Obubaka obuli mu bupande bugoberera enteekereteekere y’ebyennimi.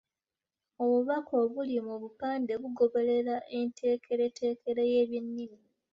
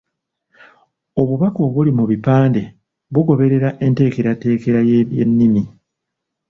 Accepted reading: first